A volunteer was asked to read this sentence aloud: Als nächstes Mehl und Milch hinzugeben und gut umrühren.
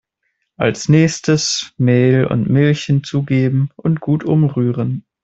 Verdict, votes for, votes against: accepted, 2, 0